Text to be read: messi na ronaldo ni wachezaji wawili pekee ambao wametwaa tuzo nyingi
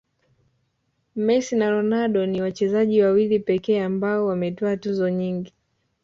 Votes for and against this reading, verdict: 2, 0, accepted